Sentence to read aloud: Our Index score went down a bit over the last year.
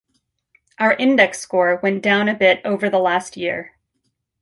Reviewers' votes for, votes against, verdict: 2, 0, accepted